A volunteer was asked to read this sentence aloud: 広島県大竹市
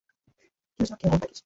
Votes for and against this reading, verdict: 0, 2, rejected